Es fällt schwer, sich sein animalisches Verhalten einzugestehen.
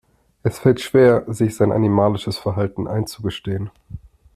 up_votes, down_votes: 2, 0